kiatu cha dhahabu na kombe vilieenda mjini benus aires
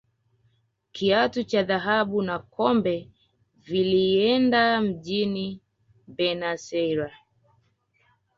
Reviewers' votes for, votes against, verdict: 2, 0, accepted